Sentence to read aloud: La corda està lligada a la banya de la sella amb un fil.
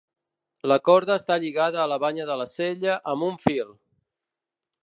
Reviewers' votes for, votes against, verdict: 2, 0, accepted